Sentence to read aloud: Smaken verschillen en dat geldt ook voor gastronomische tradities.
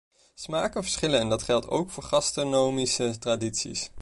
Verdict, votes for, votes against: rejected, 1, 2